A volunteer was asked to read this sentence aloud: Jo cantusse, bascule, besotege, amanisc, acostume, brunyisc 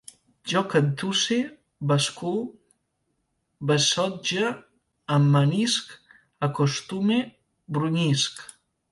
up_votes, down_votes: 0, 2